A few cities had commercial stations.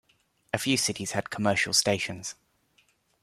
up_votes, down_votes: 2, 0